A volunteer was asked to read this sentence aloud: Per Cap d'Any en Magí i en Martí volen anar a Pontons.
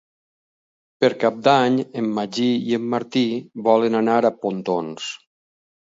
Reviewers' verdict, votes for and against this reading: accepted, 6, 0